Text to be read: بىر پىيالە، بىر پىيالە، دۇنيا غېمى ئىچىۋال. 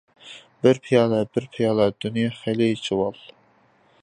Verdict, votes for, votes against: rejected, 0, 2